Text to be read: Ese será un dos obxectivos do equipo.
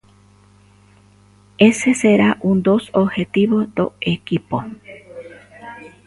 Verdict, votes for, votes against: rejected, 0, 2